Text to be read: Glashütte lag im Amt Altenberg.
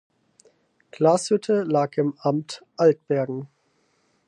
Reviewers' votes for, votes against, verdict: 0, 4, rejected